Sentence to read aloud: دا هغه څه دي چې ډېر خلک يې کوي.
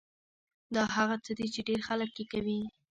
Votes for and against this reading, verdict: 1, 2, rejected